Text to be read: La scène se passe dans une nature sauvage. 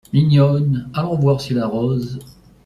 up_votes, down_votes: 0, 2